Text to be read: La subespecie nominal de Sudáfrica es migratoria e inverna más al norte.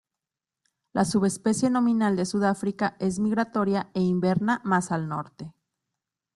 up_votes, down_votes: 2, 0